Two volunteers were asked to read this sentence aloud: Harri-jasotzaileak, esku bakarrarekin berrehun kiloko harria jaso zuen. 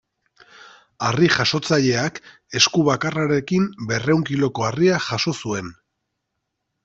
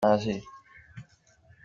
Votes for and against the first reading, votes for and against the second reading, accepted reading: 2, 0, 0, 2, first